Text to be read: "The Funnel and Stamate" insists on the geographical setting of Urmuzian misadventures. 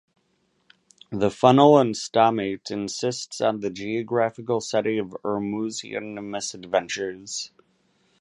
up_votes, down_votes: 2, 0